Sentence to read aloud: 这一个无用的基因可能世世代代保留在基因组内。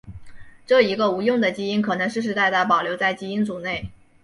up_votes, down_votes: 2, 0